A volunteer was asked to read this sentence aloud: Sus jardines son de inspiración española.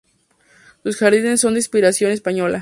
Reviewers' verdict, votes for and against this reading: rejected, 0, 2